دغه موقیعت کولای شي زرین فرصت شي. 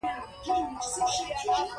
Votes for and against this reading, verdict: 0, 2, rejected